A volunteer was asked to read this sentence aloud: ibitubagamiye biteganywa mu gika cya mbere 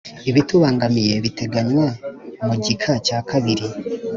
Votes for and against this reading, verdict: 2, 3, rejected